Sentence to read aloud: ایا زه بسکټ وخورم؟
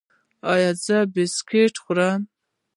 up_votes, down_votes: 1, 2